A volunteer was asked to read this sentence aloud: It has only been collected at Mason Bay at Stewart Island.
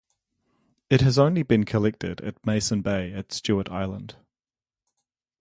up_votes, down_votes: 4, 0